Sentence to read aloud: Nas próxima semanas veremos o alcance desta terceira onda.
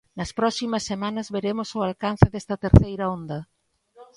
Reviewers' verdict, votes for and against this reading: rejected, 1, 2